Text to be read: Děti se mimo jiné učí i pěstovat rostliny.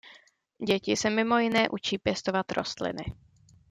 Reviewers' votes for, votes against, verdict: 0, 2, rejected